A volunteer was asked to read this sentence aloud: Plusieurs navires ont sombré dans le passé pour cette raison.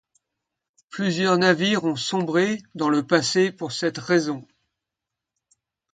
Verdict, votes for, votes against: accepted, 2, 0